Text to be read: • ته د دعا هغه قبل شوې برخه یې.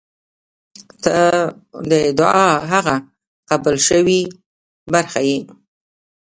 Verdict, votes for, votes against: accepted, 2, 0